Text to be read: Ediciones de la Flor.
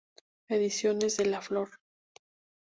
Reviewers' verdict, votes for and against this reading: accepted, 2, 0